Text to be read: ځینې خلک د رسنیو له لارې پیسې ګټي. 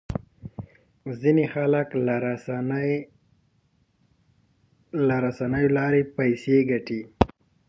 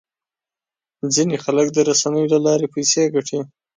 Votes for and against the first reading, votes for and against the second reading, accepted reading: 0, 2, 2, 0, second